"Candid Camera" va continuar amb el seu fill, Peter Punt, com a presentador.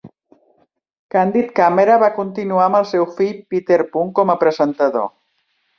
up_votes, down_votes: 3, 0